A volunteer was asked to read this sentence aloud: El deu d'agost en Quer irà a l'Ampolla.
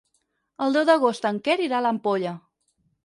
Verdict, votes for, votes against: accepted, 4, 0